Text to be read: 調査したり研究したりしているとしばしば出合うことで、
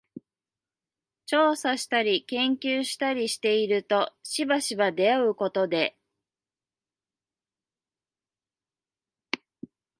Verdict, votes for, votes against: accepted, 2, 0